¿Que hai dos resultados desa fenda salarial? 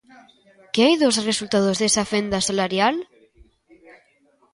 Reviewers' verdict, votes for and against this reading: rejected, 0, 2